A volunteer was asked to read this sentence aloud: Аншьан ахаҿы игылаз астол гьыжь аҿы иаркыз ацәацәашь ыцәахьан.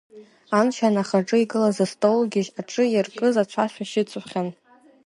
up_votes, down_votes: 3, 1